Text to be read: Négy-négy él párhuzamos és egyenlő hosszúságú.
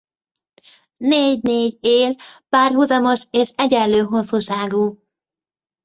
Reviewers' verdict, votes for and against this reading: rejected, 0, 2